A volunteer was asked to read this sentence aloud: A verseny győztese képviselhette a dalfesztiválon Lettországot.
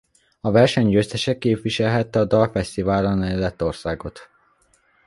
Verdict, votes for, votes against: rejected, 0, 2